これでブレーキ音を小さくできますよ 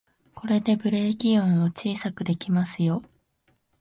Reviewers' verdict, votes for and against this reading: accepted, 2, 0